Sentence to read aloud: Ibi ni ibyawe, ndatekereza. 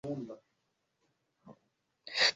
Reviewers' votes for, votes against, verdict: 0, 2, rejected